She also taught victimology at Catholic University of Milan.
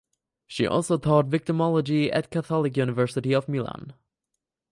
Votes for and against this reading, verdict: 4, 0, accepted